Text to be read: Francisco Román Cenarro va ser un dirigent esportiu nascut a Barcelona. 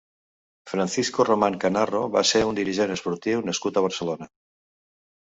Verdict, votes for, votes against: rejected, 1, 2